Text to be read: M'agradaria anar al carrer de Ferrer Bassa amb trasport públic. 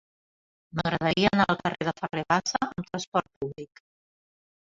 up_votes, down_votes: 0, 2